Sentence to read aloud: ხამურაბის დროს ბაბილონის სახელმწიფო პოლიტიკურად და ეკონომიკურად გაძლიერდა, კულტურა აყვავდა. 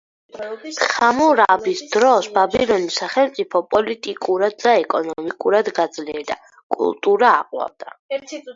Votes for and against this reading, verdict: 4, 0, accepted